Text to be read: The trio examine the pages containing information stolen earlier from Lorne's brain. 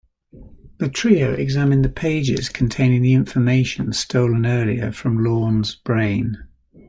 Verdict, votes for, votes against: accepted, 2, 1